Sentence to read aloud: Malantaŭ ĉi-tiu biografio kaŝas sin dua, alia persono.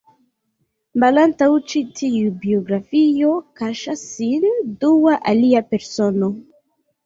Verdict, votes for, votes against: accepted, 2, 0